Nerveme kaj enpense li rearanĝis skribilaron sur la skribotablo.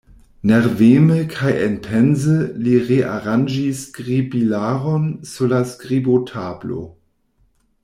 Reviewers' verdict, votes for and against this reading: rejected, 1, 2